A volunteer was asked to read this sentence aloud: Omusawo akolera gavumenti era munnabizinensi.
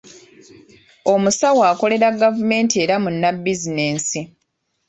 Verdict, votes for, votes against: rejected, 1, 2